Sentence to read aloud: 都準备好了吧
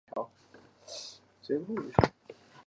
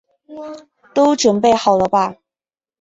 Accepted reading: second